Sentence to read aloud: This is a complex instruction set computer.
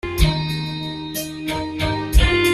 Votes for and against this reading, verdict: 0, 2, rejected